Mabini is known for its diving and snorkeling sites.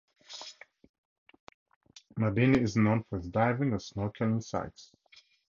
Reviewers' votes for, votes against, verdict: 2, 0, accepted